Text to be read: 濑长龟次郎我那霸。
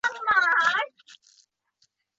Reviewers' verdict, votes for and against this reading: rejected, 1, 2